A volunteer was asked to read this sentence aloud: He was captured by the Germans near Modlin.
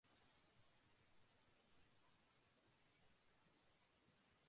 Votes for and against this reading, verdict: 0, 2, rejected